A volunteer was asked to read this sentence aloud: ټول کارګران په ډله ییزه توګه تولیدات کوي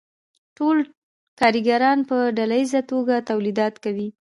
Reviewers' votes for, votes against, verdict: 2, 0, accepted